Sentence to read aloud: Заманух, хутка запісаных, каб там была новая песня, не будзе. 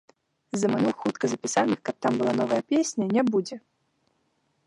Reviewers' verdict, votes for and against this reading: accepted, 2, 1